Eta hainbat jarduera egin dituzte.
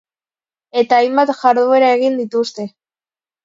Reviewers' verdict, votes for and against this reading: accepted, 2, 0